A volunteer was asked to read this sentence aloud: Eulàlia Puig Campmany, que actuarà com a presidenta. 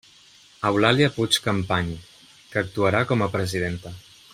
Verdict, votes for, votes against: rejected, 1, 2